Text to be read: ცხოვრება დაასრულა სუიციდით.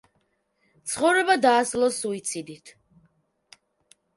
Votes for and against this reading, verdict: 0, 2, rejected